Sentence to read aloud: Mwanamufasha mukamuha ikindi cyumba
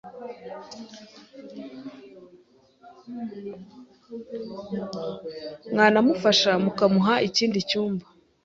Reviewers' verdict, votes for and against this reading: accepted, 4, 0